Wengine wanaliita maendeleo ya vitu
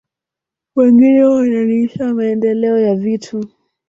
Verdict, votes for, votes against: rejected, 2, 3